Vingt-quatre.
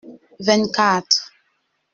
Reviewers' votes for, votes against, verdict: 2, 0, accepted